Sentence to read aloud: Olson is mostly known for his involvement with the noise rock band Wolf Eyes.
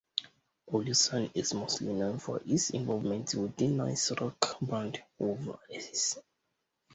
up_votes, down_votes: 2, 0